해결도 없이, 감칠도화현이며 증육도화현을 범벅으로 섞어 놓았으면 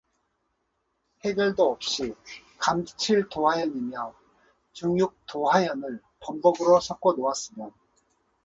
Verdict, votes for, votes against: accepted, 4, 0